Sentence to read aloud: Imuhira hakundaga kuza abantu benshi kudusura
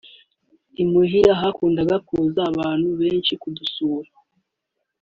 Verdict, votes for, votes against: accepted, 2, 0